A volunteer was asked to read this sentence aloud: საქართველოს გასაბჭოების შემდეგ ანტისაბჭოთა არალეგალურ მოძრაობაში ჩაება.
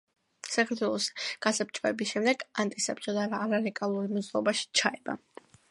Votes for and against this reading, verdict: 2, 1, accepted